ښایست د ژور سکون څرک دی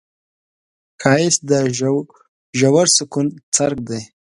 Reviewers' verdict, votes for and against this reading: rejected, 1, 2